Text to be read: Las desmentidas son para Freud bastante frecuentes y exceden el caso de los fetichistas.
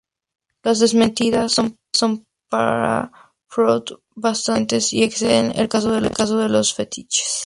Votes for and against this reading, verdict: 0, 2, rejected